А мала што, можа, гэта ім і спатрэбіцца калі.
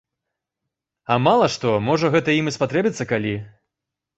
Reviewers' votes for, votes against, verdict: 2, 0, accepted